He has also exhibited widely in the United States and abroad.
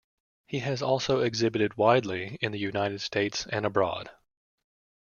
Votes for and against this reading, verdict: 2, 0, accepted